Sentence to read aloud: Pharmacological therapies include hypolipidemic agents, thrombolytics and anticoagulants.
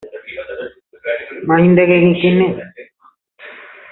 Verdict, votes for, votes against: rejected, 0, 2